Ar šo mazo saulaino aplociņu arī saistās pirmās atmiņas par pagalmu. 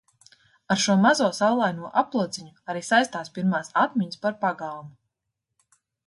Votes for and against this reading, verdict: 2, 0, accepted